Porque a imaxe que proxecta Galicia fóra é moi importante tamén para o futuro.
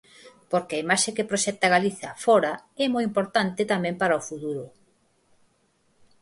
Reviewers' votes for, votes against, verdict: 4, 2, accepted